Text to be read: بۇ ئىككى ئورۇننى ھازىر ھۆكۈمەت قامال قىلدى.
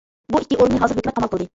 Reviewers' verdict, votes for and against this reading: rejected, 0, 2